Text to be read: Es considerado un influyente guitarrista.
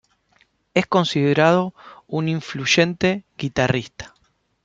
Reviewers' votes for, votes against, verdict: 2, 0, accepted